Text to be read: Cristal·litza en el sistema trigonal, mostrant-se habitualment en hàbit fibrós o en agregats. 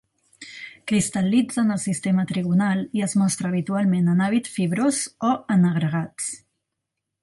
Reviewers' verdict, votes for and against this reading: rejected, 1, 3